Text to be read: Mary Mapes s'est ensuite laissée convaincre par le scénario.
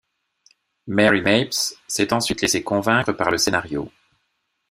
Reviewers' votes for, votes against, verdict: 2, 0, accepted